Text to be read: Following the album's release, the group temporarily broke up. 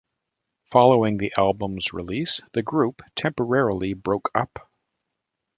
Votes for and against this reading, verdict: 2, 0, accepted